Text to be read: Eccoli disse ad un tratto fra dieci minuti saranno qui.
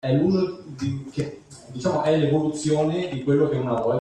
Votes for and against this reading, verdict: 0, 2, rejected